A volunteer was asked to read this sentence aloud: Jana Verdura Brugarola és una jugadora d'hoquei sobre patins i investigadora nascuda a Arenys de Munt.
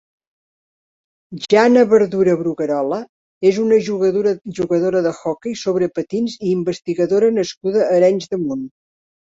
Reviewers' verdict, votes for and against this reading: rejected, 1, 2